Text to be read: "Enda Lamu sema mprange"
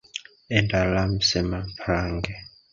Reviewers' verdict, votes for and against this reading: rejected, 1, 2